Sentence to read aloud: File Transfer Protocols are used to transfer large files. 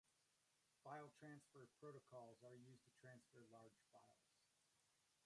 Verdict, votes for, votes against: rejected, 0, 2